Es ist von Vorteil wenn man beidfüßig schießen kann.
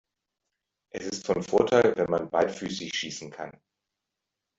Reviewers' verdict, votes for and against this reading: rejected, 1, 2